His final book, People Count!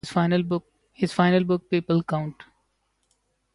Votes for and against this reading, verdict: 0, 2, rejected